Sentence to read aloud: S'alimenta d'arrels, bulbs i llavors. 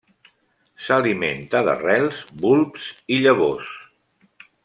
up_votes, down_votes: 2, 0